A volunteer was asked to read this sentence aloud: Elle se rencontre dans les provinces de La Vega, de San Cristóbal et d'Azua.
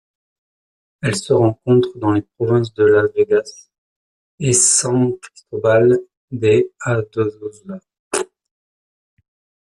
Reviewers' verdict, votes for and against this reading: rejected, 0, 2